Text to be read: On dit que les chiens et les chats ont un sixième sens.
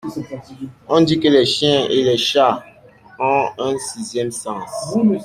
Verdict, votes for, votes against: accepted, 2, 0